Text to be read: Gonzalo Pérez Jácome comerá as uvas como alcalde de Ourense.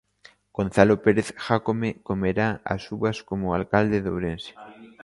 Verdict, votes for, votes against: accepted, 2, 0